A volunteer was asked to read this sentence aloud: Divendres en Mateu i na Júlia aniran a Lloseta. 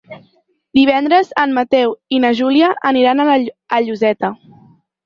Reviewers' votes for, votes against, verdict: 2, 4, rejected